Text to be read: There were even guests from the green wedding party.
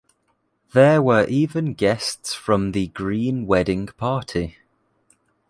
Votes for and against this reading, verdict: 2, 0, accepted